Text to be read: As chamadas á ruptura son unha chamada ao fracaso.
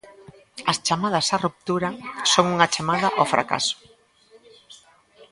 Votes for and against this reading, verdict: 2, 0, accepted